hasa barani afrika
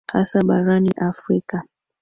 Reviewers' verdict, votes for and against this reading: accepted, 2, 1